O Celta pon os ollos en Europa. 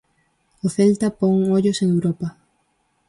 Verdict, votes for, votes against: rejected, 0, 4